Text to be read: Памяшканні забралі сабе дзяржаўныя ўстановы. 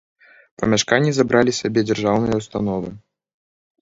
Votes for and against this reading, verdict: 2, 0, accepted